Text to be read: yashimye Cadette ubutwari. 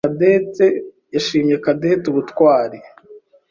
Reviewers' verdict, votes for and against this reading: accepted, 2, 1